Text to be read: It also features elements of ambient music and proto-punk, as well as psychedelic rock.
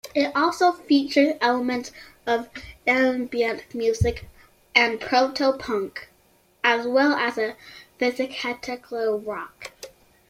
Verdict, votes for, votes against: rejected, 1, 2